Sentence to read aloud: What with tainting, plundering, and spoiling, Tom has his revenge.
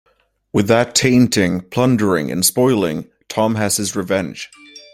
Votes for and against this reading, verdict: 1, 2, rejected